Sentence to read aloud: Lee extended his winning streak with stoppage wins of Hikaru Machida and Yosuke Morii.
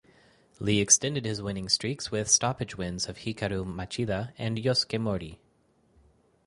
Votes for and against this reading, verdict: 4, 0, accepted